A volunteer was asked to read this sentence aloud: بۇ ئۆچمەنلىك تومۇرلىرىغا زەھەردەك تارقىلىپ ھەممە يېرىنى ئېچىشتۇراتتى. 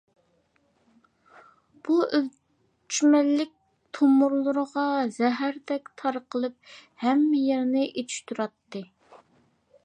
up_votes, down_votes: 1, 2